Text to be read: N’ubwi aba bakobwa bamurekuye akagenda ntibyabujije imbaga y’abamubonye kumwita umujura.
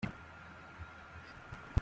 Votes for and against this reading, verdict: 0, 2, rejected